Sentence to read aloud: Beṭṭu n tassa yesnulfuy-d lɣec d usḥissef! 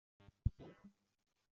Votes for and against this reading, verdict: 0, 2, rejected